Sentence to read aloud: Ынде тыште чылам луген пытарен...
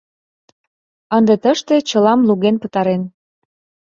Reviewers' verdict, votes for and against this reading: accepted, 2, 0